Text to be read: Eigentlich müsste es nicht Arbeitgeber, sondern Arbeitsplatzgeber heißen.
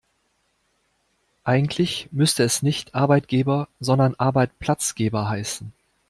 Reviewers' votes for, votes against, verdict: 0, 2, rejected